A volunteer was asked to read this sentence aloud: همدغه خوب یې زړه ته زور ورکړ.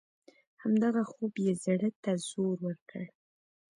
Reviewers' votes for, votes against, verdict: 0, 2, rejected